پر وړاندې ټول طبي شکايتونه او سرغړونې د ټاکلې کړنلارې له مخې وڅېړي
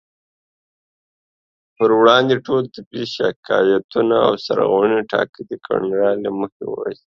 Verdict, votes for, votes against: rejected, 0, 2